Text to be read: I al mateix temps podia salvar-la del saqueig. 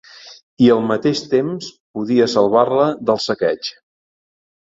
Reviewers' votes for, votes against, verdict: 3, 0, accepted